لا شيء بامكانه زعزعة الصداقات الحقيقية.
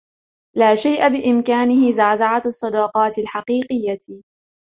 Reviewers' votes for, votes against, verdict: 2, 0, accepted